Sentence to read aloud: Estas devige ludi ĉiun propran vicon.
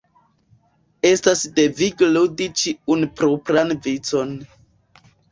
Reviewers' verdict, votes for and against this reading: accepted, 2, 0